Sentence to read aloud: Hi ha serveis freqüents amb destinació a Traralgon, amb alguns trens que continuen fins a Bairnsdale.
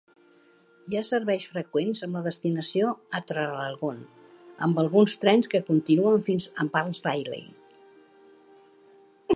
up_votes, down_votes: 1, 2